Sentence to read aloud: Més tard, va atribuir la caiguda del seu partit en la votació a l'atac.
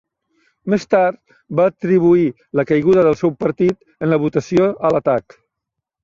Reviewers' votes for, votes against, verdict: 3, 0, accepted